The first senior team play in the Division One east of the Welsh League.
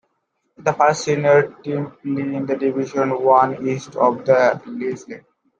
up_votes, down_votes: 0, 2